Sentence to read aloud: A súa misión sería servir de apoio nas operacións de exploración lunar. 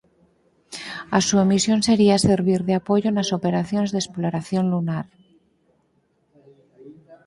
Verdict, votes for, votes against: accepted, 4, 0